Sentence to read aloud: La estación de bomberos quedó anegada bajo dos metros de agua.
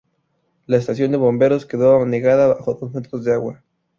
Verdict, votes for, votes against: accepted, 2, 0